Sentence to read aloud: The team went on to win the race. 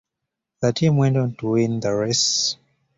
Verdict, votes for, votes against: accepted, 2, 0